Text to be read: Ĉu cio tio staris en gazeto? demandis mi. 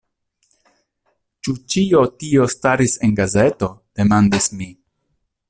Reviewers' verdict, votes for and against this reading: rejected, 1, 2